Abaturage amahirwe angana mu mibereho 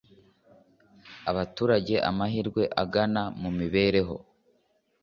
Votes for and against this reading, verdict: 2, 0, accepted